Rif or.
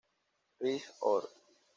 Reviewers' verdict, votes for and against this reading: rejected, 1, 2